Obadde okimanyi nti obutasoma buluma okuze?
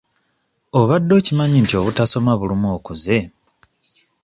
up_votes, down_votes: 2, 0